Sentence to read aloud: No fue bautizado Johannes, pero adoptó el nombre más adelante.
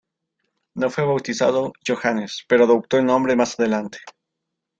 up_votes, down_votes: 2, 0